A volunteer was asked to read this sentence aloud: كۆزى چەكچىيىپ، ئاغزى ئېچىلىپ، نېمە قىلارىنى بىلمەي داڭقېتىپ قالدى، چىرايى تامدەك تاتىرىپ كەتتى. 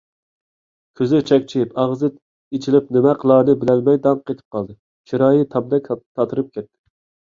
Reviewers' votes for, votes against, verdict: 0, 2, rejected